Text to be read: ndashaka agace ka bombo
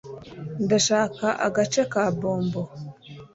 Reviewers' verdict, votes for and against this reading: accepted, 2, 0